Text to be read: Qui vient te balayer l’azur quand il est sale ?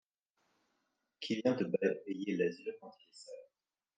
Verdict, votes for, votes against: rejected, 1, 2